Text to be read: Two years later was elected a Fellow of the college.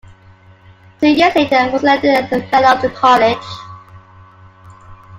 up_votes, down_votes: 0, 2